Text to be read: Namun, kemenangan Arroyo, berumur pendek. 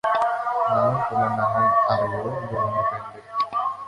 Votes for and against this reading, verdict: 0, 2, rejected